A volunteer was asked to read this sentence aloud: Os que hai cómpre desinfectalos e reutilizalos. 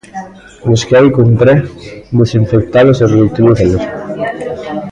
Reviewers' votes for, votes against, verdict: 0, 2, rejected